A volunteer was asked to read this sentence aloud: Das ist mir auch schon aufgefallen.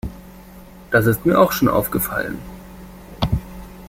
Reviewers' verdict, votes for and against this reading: accepted, 2, 0